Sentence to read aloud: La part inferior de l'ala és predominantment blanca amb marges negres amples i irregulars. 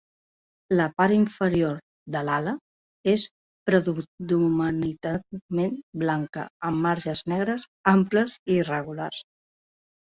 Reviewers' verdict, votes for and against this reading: rejected, 1, 2